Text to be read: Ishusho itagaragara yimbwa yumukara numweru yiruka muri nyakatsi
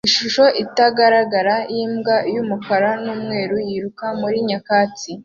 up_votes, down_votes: 2, 0